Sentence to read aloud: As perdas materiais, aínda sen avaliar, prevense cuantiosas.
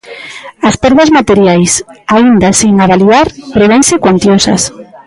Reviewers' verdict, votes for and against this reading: accepted, 2, 0